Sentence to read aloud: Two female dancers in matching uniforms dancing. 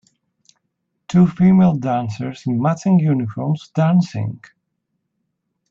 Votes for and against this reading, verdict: 2, 0, accepted